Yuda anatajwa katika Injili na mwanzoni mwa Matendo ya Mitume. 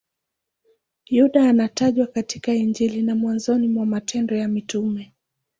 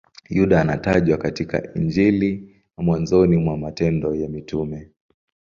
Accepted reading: second